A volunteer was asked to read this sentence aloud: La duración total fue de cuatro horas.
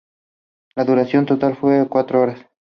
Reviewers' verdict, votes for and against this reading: accepted, 2, 0